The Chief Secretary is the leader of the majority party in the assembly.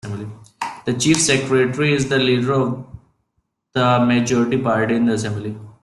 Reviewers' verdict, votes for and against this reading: rejected, 0, 2